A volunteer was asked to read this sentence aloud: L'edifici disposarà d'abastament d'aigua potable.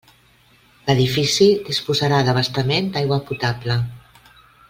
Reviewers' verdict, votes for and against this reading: accepted, 2, 0